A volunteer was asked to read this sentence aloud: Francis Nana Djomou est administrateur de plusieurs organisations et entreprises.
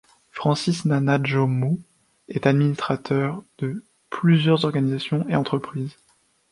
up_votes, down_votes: 3, 4